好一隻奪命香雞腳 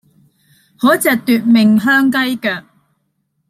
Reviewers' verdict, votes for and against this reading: accepted, 2, 0